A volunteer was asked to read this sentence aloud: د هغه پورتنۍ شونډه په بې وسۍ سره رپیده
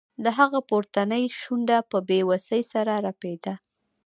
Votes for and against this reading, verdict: 1, 2, rejected